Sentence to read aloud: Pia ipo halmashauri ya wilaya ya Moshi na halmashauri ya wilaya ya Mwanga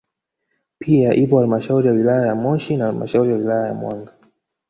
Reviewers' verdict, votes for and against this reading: rejected, 1, 2